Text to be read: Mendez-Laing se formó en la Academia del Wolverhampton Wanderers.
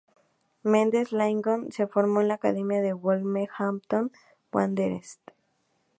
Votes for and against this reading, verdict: 2, 0, accepted